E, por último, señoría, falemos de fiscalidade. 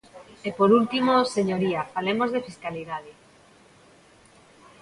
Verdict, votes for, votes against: accepted, 2, 0